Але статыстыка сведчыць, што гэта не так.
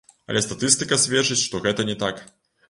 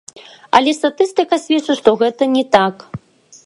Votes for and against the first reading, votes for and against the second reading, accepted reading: 1, 2, 2, 0, second